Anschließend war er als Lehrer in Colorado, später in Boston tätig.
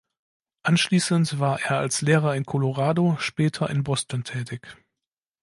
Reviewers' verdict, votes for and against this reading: accepted, 2, 0